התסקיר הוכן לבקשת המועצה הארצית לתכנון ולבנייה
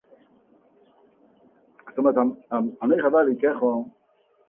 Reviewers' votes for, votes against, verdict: 0, 2, rejected